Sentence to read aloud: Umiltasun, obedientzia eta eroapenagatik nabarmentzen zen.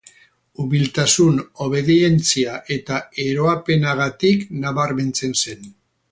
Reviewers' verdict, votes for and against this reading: rejected, 2, 2